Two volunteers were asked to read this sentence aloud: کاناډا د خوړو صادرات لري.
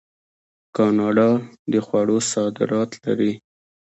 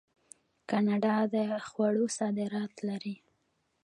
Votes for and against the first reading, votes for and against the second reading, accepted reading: 2, 1, 0, 2, first